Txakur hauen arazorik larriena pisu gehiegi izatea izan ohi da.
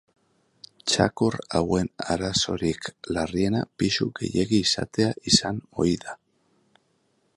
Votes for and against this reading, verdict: 2, 0, accepted